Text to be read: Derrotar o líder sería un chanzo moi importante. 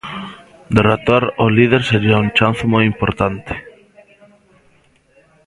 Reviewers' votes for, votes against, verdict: 1, 2, rejected